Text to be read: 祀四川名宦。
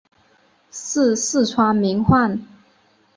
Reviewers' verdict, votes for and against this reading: accepted, 5, 0